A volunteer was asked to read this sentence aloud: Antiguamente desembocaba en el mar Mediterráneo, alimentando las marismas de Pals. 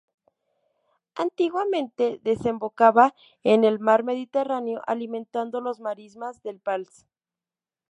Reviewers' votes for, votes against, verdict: 0, 2, rejected